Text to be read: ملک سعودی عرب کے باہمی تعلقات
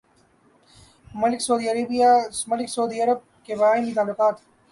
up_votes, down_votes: 0, 3